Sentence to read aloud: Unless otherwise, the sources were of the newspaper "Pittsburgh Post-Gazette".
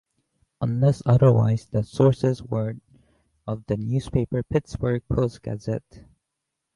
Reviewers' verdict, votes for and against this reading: accepted, 2, 0